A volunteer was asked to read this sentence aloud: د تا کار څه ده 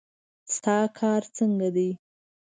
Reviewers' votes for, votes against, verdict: 0, 2, rejected